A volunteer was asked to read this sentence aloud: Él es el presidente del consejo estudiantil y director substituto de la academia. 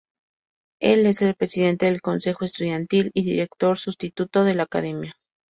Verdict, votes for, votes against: accepted, 4, 0